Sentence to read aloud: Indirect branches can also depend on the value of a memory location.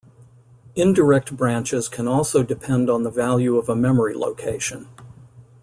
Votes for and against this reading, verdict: 2, 0, accepted